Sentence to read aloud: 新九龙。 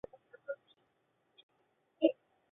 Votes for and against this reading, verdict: 1, 3, rejected